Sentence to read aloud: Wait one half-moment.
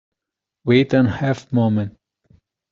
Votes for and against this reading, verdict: 2, 0, accepted